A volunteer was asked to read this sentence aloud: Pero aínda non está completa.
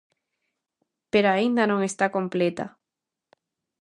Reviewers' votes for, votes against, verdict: 2, 0, accepted